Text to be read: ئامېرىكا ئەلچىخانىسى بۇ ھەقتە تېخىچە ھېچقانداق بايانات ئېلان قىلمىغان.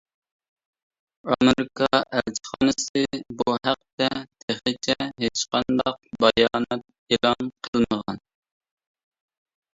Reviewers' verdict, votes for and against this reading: rejected, 0, 2